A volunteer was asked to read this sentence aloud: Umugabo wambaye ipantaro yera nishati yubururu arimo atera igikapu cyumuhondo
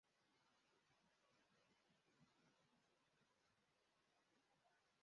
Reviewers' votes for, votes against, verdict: 0, 2, rejected